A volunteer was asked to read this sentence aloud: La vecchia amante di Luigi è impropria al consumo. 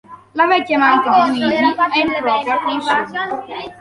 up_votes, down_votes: 0, 2